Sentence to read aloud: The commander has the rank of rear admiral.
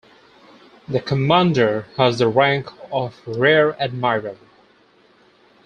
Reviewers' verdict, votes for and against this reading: accepted, 4, 0